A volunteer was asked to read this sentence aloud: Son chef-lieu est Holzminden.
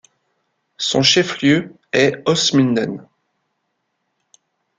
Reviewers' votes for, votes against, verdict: 2, 1, accepted